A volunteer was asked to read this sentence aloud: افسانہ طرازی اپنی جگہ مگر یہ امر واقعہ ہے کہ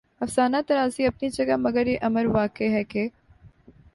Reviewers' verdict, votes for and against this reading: accepted, 2, 0